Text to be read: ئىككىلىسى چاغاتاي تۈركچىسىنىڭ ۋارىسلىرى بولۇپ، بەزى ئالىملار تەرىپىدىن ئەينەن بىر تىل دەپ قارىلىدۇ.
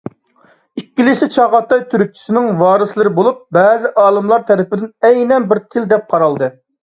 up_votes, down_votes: 0, 2